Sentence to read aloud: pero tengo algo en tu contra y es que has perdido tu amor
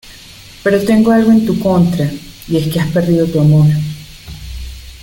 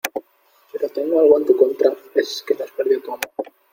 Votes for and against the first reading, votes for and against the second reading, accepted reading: 2, 0, 1, 2, first